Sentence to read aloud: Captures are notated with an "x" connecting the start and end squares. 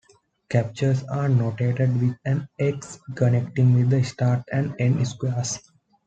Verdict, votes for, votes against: accepted, 2, 0